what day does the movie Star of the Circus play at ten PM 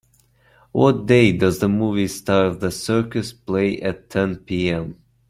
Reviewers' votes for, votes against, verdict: 2, 0, accepted